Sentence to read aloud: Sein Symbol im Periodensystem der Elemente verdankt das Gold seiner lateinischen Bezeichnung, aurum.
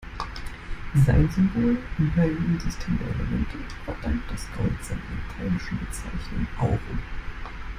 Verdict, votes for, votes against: rejected, 1, 2